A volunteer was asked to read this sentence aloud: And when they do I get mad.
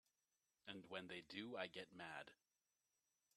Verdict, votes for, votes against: accepted, 2, 0